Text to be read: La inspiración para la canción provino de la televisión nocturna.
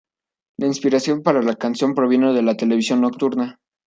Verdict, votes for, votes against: accepted, 2, 0